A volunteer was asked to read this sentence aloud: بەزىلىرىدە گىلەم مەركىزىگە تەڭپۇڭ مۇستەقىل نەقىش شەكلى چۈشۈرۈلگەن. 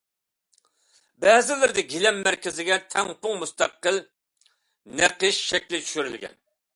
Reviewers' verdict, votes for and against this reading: accepted, 2, 0